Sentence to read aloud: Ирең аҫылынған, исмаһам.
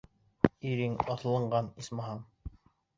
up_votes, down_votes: 2, 0